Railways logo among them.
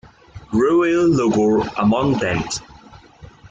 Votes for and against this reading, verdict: 0, 2, rejected